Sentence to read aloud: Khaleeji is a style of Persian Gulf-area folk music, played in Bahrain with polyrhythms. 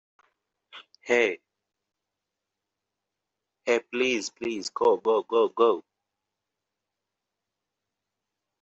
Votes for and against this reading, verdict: 0, 2, rejected